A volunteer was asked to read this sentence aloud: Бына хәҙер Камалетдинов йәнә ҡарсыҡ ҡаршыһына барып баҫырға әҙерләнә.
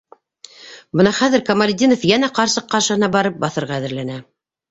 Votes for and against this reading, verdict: 2, 0, accepted